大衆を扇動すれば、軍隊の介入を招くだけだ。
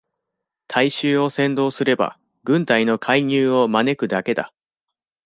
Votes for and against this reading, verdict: 2, 0, accepted